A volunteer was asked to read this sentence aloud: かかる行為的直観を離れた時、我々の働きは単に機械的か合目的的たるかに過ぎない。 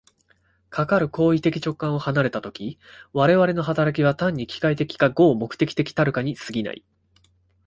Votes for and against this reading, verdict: 2, 0, accepted